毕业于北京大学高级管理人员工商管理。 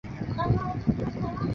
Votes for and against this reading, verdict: 0, 3, rejected